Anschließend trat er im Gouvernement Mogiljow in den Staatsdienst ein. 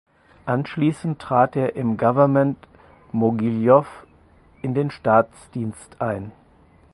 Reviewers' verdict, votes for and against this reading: accepted, 4, 2